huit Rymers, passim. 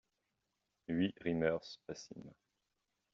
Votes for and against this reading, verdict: 2, 0, accepted